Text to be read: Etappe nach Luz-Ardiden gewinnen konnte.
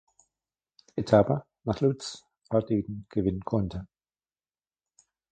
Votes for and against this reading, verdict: 1, 2, rejected